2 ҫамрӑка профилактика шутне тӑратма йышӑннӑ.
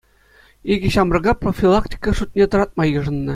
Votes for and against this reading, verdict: 0, 2, rejected